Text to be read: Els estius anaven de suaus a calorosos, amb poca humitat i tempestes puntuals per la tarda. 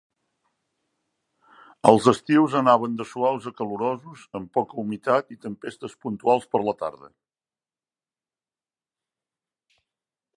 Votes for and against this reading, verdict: 2, 0, accepted